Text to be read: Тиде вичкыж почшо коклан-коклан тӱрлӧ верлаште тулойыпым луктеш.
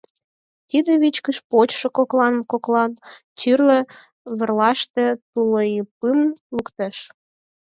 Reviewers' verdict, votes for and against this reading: accepted, 4, 2